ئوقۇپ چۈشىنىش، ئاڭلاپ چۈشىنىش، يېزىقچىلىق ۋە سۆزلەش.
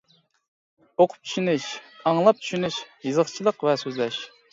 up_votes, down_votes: 2, 0